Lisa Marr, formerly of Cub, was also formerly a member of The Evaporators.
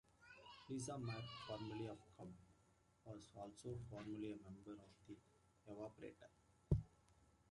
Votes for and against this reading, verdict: 0, 2, rejected